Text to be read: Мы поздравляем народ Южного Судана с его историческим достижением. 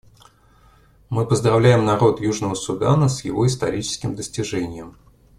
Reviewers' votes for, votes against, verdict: 2, 0, accepted